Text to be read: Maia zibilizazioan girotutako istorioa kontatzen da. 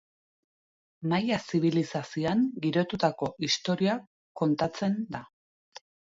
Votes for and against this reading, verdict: 2, 0, accepted